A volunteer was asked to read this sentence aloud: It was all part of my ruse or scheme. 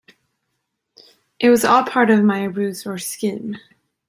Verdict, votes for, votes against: accepted, 2, 0